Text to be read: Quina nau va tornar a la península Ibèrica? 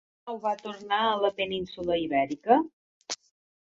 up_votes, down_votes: 0, 4